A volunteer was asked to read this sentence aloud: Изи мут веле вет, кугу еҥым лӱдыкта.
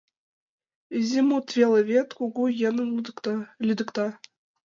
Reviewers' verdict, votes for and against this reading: rejected, 1, 2